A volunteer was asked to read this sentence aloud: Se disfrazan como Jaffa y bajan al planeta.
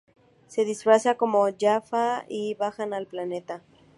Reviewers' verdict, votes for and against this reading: rejected, 0, 2